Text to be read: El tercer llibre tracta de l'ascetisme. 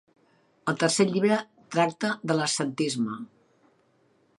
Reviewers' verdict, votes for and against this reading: rejected, 1, 2